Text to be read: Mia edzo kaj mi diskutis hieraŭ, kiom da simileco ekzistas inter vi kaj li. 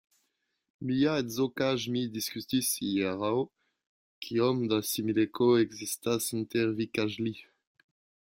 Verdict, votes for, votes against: rejected, 0, 2